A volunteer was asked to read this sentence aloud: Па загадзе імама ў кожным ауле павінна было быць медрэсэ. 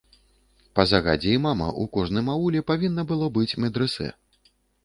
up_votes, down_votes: 2, 0